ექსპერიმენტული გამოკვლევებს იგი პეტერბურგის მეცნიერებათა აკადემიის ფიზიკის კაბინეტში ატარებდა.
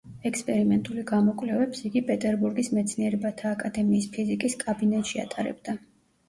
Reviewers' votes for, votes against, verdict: 1, 2, rejected